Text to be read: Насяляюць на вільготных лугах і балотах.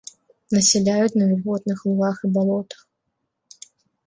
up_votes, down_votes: 3, 2